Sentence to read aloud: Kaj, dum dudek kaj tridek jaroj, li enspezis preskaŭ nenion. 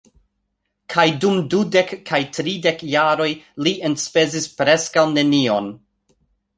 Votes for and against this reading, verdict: 2, 0, accepted